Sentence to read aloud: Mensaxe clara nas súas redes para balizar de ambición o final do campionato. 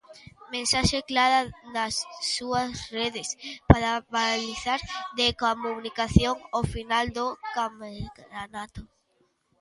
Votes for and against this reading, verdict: 0, 2, rejected